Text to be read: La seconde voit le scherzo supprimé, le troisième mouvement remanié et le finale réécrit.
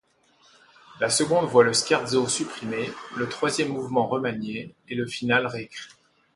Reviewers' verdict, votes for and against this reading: accepted, 2, 0